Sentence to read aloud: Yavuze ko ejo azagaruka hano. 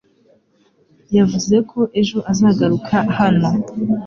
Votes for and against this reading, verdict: 2, 0, accepted